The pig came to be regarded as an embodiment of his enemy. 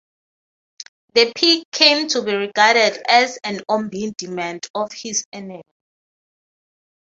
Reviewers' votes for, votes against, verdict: 0, 3, rejected